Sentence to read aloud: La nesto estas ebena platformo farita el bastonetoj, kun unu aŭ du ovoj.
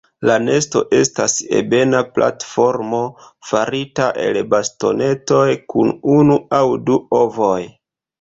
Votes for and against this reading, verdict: 2, 0, accepted